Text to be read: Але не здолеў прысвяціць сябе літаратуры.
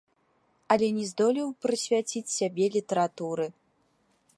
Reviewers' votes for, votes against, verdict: 0, 2, rejected